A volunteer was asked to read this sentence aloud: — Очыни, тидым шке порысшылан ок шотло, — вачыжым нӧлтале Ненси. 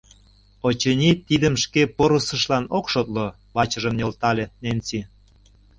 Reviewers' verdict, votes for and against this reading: rejected, 0, 2